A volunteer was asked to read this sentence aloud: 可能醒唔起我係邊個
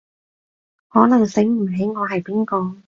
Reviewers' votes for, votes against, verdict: 2, 0, accepted